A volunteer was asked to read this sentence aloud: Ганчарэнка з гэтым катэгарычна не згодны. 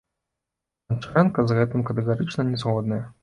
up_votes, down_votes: 1, 2